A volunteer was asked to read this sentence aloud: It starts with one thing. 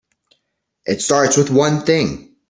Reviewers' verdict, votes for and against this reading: accepted, 2, 0